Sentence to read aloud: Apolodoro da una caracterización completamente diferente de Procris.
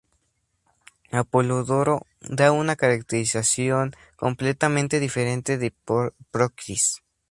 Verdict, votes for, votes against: accepted, 4, 2